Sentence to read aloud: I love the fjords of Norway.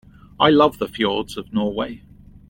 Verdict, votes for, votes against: accepted, 2, 0